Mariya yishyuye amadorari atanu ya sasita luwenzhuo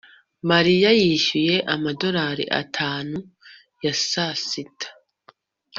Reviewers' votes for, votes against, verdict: 0, 2, rejected